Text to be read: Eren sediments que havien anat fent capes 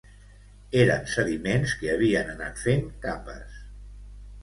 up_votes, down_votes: 2, 0